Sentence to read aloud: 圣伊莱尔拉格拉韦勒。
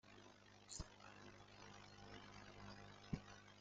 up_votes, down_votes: 0, 2